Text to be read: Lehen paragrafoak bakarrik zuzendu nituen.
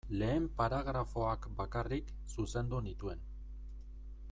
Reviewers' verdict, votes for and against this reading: accepted, 2, 1